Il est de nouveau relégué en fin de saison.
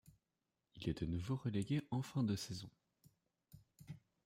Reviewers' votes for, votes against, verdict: 2, 1, accepted